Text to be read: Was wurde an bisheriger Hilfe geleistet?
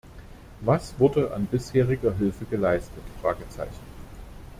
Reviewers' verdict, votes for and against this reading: rejected, 1, 2